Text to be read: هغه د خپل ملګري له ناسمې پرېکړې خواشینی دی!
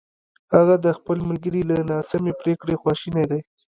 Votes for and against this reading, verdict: 0, 2, rejected